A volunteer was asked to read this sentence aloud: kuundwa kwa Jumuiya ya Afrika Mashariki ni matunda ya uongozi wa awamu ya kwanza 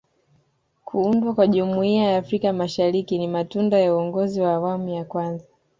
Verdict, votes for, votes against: accepted, 2, 0